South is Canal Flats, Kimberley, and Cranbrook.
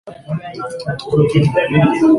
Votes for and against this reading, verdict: 0, 2, rejected